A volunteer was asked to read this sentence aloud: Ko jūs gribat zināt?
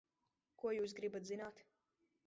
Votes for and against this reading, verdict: 1, 2, rejected